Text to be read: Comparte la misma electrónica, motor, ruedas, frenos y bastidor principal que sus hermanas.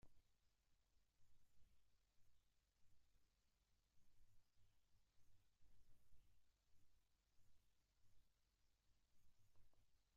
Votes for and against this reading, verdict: 0, 2, rejected